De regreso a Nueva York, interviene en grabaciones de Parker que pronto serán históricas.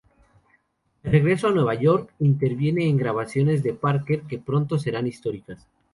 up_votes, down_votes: 2, 0